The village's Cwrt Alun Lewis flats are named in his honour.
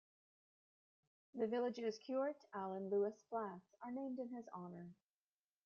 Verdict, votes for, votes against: rejected, 1, 2